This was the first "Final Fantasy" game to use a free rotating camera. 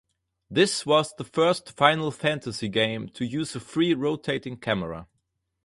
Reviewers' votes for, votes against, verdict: 4, 0, accepted